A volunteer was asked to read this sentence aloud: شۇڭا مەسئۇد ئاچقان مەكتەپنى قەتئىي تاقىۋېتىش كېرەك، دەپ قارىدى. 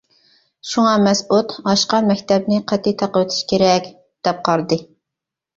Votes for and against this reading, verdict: 0, 2, rejected